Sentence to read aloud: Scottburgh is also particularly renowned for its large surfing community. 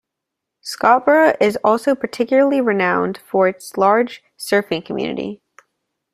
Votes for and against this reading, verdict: 2, 0, accepted